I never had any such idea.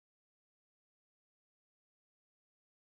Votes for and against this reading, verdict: 0, 4, rejected